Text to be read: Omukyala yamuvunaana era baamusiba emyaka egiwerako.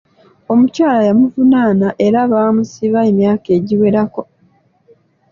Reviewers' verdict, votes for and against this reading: accepted, 2, 0